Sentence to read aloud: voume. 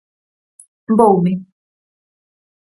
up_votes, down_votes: 4, 0